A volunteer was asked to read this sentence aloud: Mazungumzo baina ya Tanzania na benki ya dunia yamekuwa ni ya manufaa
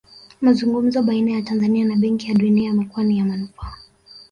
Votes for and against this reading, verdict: 1, 2, rejected